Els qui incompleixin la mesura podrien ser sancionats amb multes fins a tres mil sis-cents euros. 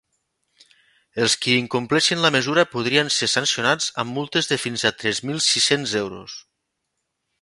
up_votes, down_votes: 1, 2